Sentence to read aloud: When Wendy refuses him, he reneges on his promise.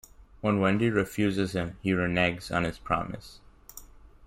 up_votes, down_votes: 0, 2